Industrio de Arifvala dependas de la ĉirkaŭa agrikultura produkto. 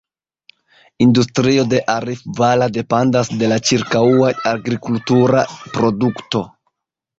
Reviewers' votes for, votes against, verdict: 1, 2, rejected